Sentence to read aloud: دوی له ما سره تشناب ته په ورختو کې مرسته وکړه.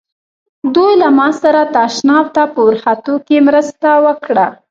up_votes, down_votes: 1, 2